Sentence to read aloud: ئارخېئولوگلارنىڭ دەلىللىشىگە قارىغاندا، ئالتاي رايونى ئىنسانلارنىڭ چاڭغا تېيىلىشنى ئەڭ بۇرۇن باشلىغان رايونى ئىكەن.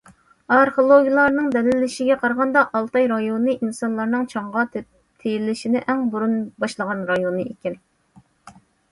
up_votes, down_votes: 2, 1